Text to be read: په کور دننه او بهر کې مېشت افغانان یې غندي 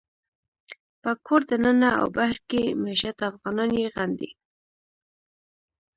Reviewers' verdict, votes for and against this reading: rejected, 0, 2